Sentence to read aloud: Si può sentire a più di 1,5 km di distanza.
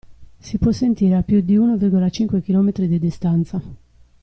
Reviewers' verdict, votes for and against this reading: rejected, 0, 2